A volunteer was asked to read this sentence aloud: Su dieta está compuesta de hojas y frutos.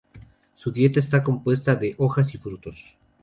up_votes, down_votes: 2, 0